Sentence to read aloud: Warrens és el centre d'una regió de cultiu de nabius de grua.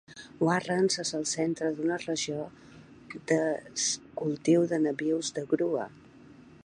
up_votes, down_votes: 0, 2